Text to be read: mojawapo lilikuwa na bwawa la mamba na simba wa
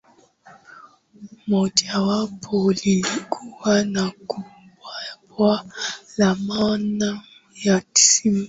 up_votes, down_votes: 7, 3